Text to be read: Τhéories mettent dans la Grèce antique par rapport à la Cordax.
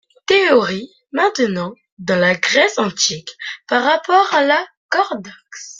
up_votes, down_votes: 0, 2